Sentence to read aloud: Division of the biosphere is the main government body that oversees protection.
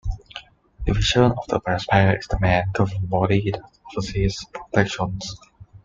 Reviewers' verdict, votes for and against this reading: rejected, 0, 2